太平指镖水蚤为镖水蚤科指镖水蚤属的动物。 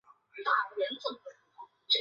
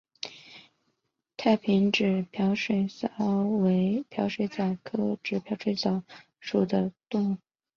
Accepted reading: second